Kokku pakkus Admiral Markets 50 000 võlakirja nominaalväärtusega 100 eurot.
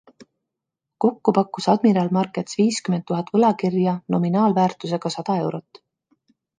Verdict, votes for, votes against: rejected, 0, 2